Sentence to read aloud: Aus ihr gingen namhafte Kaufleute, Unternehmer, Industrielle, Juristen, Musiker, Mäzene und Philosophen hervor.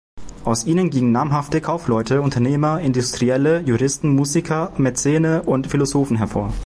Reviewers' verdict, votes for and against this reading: rejected, 1, 2